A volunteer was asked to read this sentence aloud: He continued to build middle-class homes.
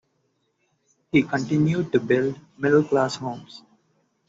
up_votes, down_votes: 2, 0